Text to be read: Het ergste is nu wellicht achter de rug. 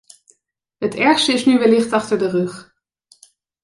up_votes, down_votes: 2, 0